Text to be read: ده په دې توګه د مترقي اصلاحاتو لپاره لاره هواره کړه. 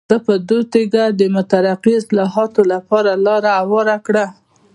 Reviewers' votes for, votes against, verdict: 2, 1, accepted